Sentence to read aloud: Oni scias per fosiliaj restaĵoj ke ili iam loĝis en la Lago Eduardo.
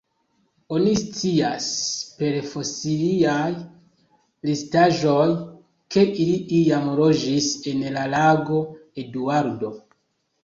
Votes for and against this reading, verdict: 2, 0, accepted